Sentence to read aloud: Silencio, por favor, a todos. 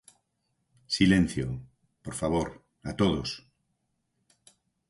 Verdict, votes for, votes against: accepted, 4, 0